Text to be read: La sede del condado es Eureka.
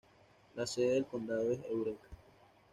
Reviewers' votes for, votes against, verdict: 2, 0, accepted